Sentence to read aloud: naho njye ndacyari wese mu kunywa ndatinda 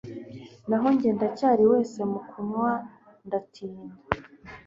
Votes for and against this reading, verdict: 2, 0, accepted